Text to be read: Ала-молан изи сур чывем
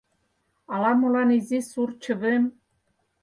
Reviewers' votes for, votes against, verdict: 4, 0, accepted